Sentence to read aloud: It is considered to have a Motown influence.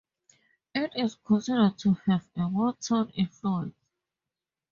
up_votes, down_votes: 2, 0